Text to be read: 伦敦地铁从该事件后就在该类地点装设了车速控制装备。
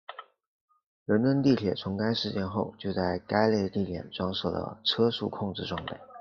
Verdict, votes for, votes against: accepted, 2, 0